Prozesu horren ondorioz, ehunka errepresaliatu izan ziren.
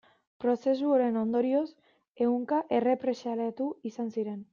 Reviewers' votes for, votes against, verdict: 2, 0, accepted